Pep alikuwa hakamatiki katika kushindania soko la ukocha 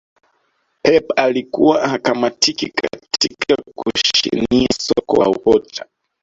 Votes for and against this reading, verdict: 0, 2, rejected